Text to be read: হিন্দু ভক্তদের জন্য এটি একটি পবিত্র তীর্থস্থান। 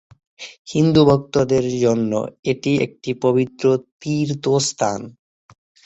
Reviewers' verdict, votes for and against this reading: accepted, 3, 0